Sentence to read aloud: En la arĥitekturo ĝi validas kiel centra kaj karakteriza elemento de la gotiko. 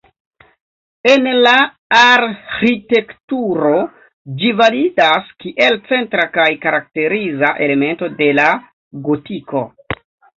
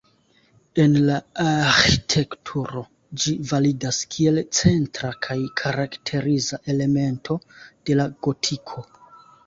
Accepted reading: second